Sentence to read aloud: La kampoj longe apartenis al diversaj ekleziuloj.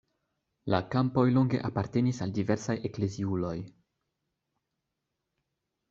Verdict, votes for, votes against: accepted, 2, 0